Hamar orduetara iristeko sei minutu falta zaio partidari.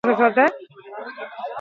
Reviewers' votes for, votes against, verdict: 2, 0, accepted